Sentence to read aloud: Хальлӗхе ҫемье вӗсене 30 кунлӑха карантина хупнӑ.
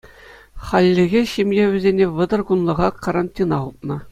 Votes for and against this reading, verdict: 0, 2, rejected